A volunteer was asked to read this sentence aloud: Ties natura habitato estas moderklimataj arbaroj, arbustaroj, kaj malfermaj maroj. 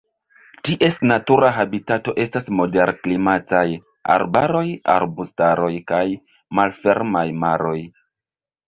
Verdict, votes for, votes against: rejected, 0, 2